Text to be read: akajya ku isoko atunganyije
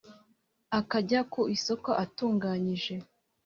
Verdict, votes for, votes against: accepted, 2, 0